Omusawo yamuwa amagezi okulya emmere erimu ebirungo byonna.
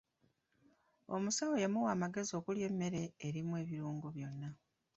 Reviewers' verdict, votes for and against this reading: accepted, 3, 2